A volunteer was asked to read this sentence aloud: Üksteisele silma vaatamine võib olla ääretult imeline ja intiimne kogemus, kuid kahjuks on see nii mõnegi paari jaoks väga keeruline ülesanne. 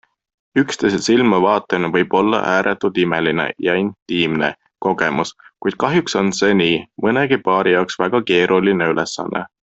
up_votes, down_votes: 2, 0